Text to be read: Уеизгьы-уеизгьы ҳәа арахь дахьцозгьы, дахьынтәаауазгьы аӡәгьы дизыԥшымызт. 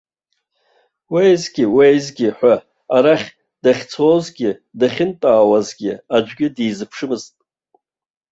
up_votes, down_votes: 0, 2